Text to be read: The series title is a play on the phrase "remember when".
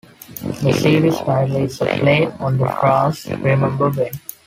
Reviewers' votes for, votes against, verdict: 0, 2, rejected